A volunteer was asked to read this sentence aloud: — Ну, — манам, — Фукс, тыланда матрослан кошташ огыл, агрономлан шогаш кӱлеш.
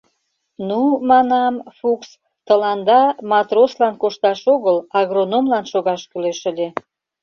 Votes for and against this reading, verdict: 0, 2, rejected